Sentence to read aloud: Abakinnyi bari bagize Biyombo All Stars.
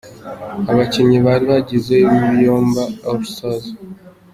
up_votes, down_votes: 2, 1